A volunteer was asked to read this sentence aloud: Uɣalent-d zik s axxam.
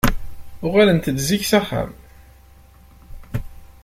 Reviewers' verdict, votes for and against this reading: accepted, 2, 0